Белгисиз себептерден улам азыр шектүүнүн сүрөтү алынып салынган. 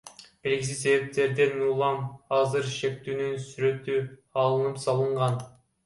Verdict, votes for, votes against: rejected, 1, 2